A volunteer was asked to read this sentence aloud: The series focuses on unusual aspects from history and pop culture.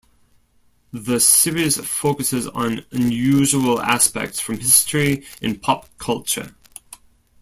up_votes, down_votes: 2, 0